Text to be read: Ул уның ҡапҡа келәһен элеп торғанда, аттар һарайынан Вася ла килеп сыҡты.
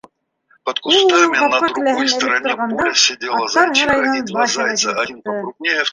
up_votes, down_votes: 0, 2